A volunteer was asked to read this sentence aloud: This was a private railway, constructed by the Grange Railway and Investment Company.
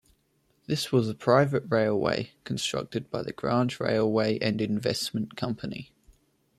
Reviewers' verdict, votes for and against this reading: accepted, 2, 0